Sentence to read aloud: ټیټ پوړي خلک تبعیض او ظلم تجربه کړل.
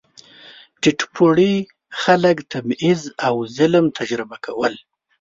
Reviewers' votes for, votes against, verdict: 1, 2, rejected